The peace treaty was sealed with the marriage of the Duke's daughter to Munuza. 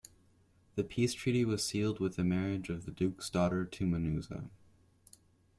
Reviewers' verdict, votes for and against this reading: accepted, 2, 0